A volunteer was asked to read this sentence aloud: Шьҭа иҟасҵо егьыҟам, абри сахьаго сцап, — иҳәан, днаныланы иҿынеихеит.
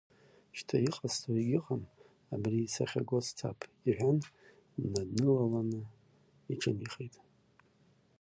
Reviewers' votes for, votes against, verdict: 1, 2, rejected